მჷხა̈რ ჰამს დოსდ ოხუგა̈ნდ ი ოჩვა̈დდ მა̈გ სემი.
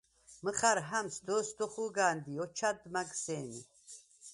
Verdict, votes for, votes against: accepted, 4, 0